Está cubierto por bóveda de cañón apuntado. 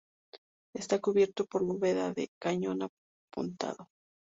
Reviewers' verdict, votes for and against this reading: accepted, 2, 0